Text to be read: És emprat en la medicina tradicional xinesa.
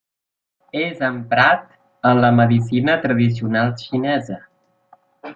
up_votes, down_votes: 1, 2